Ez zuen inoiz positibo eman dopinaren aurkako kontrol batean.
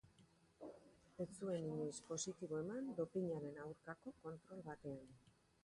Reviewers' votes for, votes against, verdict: 2, 0, accepted